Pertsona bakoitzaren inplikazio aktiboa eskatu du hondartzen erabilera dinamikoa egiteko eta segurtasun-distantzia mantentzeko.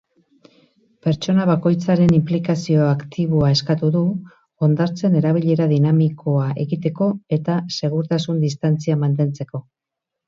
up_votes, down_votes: 4, 0